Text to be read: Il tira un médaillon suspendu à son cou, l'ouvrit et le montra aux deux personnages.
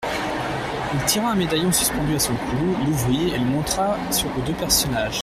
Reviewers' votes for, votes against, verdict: 0, 2, rejected